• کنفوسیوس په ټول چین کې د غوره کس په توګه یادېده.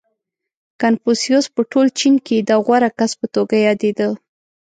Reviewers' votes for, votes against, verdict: 2, 0, accepted